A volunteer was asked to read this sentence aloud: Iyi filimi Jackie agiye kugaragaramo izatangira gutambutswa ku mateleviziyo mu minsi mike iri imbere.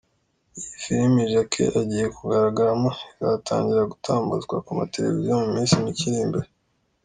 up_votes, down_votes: 2, 0